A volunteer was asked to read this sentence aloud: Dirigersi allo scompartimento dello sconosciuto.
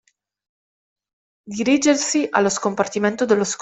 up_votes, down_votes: 0, 2